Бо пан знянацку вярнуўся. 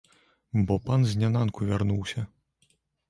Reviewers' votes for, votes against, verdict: 1, 2, rejected